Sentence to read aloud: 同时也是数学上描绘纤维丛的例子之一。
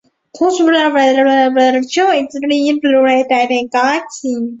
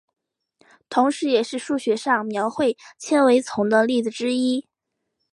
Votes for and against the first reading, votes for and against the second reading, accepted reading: 0, 2, 2, 0, second